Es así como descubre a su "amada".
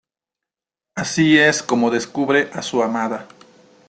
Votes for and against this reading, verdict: 1, 2, rejected